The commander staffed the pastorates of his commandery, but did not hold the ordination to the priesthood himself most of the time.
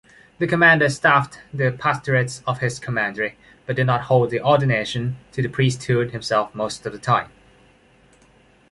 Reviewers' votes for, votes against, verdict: 2, 1, accepted